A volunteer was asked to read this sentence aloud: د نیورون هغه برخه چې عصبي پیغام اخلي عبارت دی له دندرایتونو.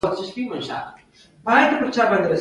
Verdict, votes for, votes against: rejected, 1, 2